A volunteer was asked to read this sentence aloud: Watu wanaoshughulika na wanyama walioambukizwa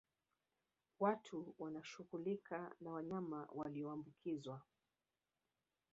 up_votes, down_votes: 2, 1